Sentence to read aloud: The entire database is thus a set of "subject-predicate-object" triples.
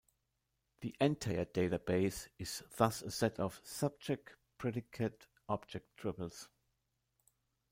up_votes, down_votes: 1, 2